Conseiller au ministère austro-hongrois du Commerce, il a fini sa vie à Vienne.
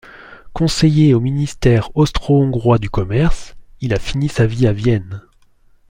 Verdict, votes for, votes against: accepted, 2, 0